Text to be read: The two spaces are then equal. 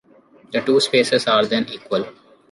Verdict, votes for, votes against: accepted, 2, 0